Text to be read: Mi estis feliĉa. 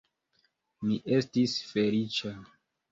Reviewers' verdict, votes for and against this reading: accepted, 2, 0